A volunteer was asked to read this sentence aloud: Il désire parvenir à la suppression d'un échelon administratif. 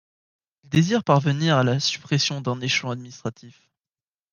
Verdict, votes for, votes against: rejected, 1, 2